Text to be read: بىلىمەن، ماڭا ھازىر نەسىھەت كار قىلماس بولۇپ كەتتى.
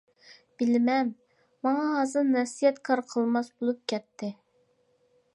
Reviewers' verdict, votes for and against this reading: accepted, 2, 0